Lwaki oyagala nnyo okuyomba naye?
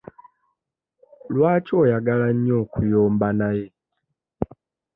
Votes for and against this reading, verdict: 2, 0, accepted